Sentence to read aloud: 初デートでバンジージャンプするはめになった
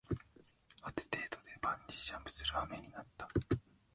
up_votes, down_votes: 1, 2